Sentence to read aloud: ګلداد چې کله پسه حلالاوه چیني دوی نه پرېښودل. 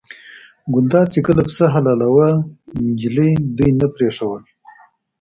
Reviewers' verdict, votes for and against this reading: rejected, 0, 2